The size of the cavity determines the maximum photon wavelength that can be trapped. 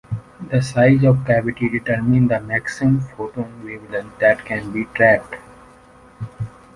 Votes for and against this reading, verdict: 2, 0, accepted